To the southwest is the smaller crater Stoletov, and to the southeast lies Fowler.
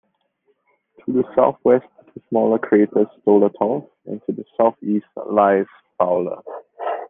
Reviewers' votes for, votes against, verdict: 2, 0, accepted